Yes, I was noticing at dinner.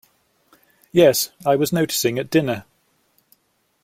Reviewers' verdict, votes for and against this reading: accepted, 2, 0